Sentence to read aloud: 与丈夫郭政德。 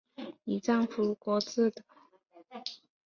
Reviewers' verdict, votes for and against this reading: rejected, 0, 2